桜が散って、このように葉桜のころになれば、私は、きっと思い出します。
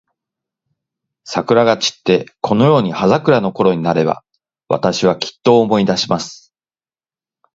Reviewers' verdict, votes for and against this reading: accepted, 2, 0